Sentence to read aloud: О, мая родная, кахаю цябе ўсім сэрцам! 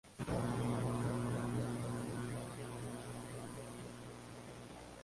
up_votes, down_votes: 0, 2